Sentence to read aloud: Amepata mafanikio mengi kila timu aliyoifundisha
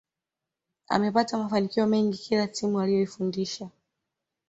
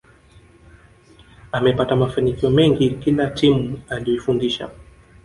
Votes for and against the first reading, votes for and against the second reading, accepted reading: 2, 0, 1, 2, first